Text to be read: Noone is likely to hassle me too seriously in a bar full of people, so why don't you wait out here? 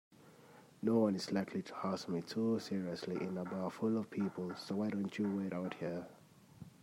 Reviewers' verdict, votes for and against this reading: rejected, 1, 2